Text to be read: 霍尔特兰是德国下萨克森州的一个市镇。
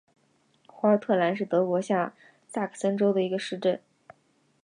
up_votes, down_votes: 2, 0